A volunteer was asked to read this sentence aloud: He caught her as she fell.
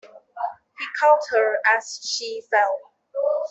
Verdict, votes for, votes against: accepted, 2, 0